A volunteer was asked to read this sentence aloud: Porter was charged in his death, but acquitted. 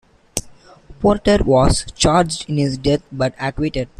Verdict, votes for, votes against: rejected, 1, 2